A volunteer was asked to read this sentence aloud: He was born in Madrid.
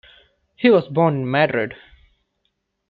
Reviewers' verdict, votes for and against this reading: accepted, 2, 0